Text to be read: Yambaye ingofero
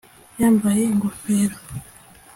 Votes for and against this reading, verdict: 2, 0, accepted